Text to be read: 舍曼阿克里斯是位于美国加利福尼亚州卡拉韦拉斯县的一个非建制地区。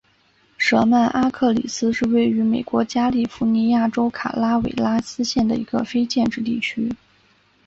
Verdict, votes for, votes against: accepted, 3, 0